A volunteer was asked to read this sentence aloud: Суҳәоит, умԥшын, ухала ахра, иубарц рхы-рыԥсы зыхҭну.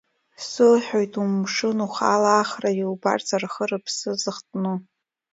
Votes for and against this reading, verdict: 1, 2, rejected